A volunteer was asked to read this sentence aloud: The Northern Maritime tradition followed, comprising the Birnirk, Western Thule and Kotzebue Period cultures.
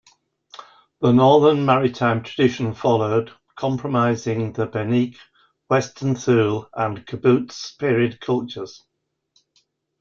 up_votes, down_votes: 0, 2